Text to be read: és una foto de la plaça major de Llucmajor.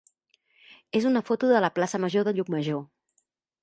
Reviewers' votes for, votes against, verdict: 2, 0, accepted